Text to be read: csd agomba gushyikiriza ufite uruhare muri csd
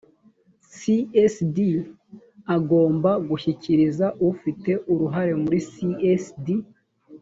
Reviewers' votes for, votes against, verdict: 2, 0, accepted